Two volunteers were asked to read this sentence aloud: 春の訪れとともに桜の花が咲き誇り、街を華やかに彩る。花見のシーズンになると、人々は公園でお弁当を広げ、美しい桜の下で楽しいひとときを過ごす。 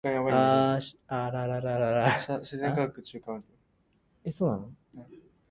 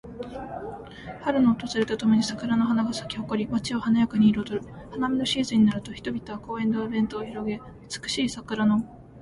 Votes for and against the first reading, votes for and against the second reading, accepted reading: 0, 4, 2, 1, second